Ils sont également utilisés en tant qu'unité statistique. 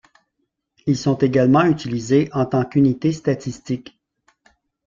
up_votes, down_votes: 2, 0